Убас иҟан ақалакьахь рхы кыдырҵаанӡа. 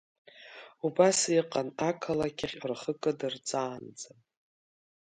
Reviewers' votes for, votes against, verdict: 3, 0, accepted